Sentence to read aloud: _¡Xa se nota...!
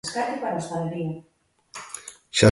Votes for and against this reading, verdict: 0, 2, rejected